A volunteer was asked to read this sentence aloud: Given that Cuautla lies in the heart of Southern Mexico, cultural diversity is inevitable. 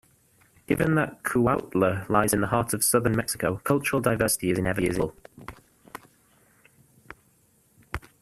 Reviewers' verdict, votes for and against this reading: rejected, 0, 2